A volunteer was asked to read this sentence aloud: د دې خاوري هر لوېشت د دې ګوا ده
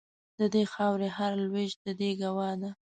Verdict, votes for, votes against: accepted, 2, 0